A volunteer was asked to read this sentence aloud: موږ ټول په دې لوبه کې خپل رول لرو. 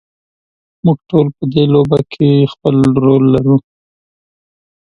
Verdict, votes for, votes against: rejected, 1, 2